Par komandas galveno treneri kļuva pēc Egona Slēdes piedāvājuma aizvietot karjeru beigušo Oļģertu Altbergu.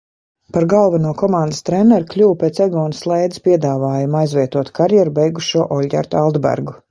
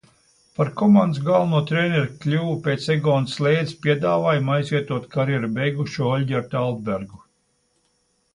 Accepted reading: second